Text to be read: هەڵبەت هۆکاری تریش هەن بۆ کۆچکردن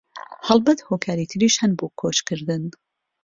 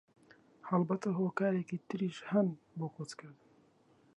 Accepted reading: first